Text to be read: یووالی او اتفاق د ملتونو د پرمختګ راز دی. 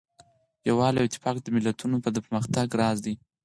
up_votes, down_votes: 4, 0